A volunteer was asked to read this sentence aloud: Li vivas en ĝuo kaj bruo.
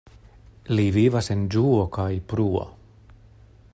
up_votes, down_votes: 2, 0